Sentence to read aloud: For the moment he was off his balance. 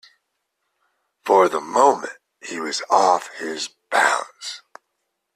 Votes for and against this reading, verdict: 2, 0, accepted